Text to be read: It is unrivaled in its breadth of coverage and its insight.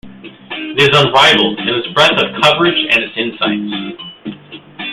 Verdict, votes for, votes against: accepted, 2, 1